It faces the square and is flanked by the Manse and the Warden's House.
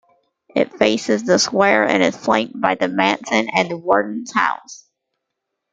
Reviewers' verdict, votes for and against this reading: accepted, 2, 0